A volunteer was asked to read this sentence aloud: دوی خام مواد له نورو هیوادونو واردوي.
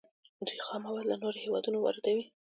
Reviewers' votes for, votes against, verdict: 2, 1, accepted